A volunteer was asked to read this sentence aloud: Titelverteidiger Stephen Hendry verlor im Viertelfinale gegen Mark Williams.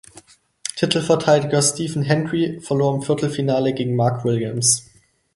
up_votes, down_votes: 4, 0